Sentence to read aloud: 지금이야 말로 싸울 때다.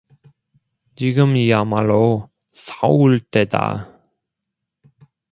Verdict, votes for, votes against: rejected, 0, 2